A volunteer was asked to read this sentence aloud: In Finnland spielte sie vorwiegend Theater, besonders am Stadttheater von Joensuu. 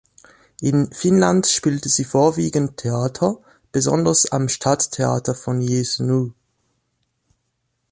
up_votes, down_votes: 0, 2